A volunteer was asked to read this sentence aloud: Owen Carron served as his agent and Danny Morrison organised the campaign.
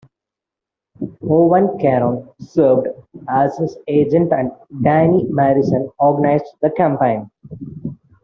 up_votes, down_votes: 2, 0